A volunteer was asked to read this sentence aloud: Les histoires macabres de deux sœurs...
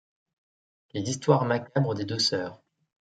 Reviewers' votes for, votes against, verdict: 1, 2, rejected